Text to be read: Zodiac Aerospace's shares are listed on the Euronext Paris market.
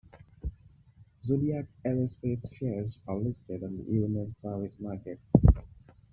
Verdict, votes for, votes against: rejected, 0, 2